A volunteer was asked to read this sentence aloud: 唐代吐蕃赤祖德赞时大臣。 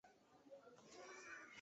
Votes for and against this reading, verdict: 0, 2, rejected